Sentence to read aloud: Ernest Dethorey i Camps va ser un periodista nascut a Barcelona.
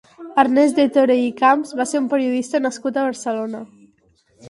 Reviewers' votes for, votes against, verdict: 4, 0, accepted